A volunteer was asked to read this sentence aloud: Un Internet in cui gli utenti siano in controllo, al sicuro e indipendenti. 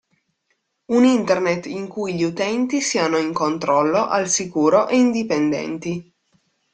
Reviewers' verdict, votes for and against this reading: accepted, 2, 0